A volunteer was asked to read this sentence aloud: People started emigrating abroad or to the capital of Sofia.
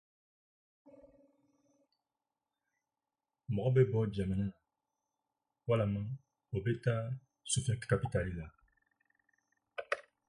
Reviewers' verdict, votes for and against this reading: rejected, 0, 8